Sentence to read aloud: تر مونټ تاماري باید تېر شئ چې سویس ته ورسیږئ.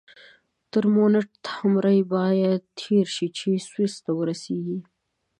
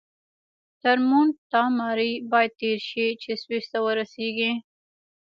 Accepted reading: first